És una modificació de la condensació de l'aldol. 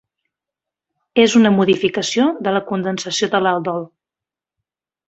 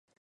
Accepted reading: first